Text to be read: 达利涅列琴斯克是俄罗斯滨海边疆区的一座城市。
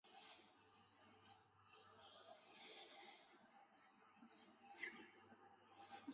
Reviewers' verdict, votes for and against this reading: rejected, 1, 3